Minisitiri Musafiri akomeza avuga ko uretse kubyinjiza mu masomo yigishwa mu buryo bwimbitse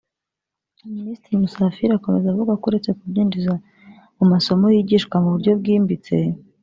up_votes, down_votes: 2, 1